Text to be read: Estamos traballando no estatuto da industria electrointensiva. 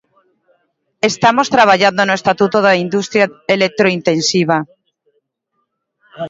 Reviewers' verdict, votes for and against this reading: rejected, 1, 2